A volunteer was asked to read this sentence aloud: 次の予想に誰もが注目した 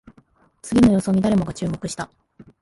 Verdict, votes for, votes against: accepted, 2, 0